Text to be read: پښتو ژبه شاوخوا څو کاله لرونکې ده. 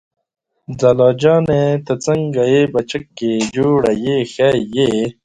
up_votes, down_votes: 0, 2